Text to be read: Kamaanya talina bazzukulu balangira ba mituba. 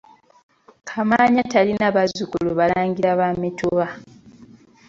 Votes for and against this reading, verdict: 2, 0, accepted